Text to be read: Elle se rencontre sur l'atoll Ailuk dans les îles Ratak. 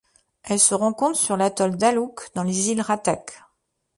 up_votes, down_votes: 0, 2